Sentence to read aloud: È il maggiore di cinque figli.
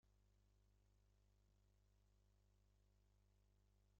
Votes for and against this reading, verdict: 0, 2, rejected